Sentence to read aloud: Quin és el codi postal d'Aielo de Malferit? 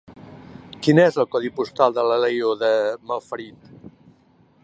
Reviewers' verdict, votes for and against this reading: rejected, 0, 2